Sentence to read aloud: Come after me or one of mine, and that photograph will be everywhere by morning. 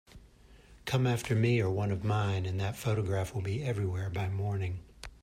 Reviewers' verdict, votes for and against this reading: accepted, 2, 0